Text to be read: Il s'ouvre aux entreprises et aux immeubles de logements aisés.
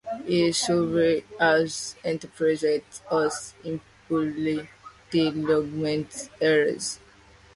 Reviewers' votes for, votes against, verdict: 0, 2, rejected